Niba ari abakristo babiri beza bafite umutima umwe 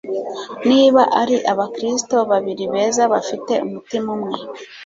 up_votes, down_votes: 2, 0